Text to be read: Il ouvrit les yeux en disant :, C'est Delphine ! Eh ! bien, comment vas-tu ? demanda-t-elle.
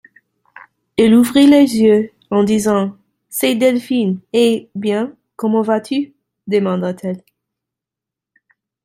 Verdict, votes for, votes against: accepted, 2, 0